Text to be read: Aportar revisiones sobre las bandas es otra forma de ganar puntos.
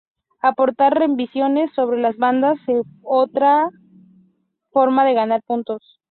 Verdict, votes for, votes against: rejected, 2, 2